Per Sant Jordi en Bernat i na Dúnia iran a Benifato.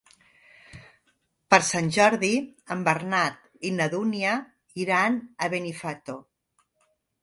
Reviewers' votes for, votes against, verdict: 4, 0, accepted